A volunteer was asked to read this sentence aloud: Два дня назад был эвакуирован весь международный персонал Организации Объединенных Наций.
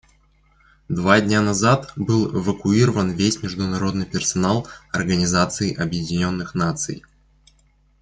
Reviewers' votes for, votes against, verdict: 2, 0, accepted